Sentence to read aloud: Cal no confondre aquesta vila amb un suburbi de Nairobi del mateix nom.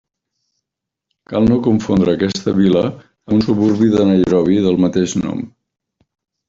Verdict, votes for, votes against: rejected, 1, 2